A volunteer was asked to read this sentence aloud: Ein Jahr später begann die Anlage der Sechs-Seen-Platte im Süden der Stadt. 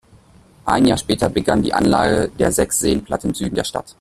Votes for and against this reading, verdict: 1, 2, rejected